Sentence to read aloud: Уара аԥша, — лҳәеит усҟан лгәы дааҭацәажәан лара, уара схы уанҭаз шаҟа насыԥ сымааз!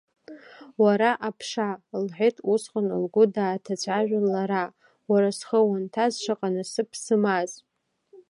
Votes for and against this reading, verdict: 2, 1, accepted